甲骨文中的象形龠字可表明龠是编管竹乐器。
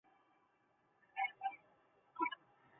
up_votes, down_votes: 0, 3